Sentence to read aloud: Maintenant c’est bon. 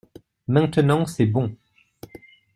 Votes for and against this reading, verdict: 2, 0, accepted